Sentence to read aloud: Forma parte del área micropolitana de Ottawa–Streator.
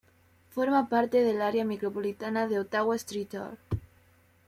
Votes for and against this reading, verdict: 1, 2, rejected